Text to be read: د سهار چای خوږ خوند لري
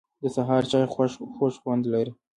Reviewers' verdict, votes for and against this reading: accepted, 2, 0